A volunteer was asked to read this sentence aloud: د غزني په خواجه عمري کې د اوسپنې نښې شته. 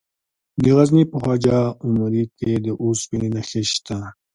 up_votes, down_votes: 2, 0